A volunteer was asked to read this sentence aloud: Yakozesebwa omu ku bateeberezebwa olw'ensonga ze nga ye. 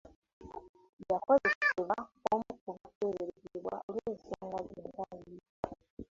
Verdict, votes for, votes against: rejected, 0, 3